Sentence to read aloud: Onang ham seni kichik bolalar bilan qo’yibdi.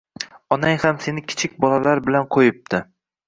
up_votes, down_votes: 2, 0